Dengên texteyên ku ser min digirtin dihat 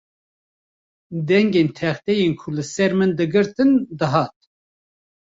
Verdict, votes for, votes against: rejected, 1, 2